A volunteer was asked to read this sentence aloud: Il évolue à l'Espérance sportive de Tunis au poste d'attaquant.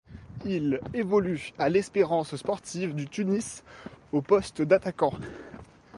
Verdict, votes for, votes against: rejected, 1, 2